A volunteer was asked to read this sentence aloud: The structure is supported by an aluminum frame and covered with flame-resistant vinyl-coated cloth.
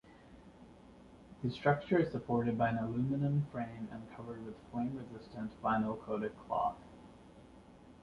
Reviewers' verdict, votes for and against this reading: accepted, 2, 1